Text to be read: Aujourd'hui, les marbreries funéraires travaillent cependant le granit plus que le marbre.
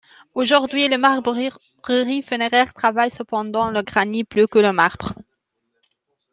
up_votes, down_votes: 0, 2